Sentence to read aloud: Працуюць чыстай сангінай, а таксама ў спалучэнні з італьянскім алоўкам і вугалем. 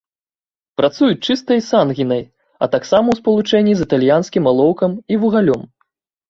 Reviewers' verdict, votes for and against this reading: rejected, 1, 2